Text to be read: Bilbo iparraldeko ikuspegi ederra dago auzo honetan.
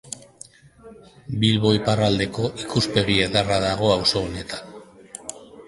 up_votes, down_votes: 2, 1